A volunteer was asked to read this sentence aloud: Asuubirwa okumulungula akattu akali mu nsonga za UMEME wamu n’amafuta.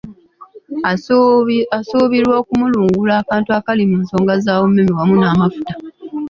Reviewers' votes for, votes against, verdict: 2, 0, accepted